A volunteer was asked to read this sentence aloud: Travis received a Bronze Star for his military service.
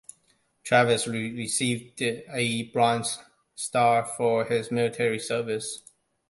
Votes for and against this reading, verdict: 0, 2, rejected